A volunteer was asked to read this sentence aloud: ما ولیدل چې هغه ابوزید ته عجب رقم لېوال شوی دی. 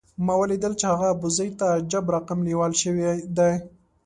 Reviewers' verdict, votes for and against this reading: accepted, 2, 0